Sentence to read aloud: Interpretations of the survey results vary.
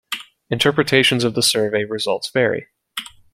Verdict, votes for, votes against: accepted, 2, 0